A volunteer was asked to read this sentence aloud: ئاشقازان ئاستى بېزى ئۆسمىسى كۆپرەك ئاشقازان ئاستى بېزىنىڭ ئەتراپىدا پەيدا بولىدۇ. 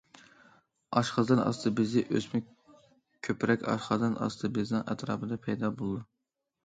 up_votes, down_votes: 0, 2